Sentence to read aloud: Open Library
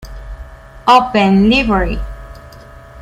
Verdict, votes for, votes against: rejected, 1, 2